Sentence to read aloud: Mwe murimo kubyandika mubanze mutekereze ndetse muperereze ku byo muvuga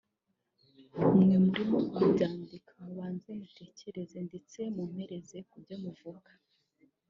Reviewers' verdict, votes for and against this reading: rejected, 0, 2